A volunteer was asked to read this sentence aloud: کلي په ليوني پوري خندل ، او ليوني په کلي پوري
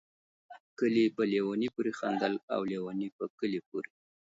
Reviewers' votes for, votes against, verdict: 0, 2, rejected